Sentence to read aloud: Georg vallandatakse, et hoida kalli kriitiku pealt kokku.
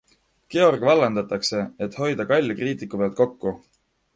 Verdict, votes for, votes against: accepted, 2, 0